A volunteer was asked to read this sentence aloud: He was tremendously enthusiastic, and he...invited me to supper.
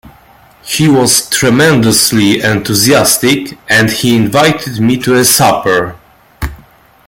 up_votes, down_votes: 1, 2